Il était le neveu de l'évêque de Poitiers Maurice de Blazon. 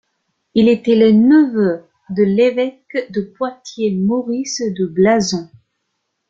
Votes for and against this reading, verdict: 1, 2, rejected